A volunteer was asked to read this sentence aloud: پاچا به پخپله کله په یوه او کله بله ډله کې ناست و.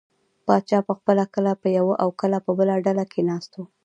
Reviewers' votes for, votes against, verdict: 2, 0, accepted